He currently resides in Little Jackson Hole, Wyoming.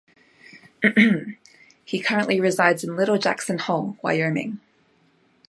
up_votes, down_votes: 2, 1